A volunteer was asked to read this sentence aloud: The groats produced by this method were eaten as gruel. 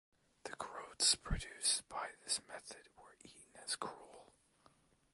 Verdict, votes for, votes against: accepted, 2, 0